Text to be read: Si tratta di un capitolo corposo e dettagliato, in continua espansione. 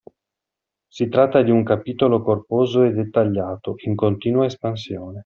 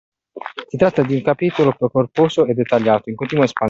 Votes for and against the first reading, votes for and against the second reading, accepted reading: 2, 0, 0, 2, first